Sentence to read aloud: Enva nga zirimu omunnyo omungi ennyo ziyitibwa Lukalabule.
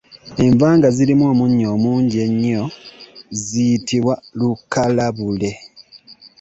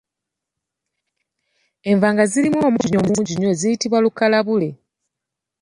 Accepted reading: first